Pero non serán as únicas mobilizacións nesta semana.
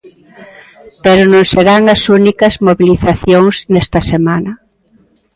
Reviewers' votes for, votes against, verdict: 2, 0, accepted